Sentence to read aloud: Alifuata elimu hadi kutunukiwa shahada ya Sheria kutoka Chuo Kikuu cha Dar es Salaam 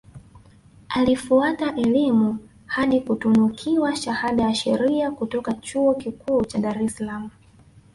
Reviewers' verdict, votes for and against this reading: accepted, 2, 0